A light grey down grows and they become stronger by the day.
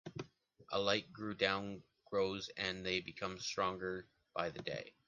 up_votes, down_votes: 0, 2